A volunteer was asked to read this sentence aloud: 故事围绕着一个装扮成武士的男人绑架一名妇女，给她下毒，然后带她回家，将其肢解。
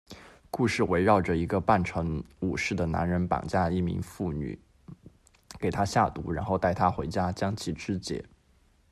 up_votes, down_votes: 0, 2